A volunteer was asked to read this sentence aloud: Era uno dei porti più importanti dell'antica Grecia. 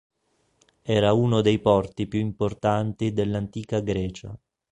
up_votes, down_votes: 2, 0